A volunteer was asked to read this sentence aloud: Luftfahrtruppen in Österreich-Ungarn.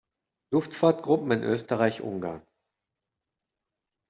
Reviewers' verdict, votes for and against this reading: rejected, 1, 2